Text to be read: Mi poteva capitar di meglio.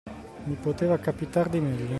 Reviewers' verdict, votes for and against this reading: accepted, 2, 0